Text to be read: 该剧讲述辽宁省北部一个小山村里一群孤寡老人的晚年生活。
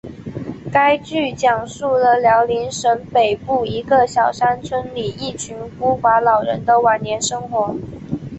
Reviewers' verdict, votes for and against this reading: accepted, 2, 0